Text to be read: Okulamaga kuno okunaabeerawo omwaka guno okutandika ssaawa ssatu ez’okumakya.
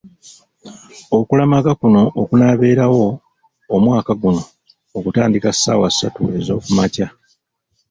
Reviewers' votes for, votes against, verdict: 1, 2, rejected